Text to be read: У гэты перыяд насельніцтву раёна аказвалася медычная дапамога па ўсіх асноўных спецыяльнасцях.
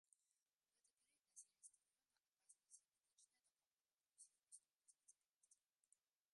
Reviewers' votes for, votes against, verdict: 0, 2, rejected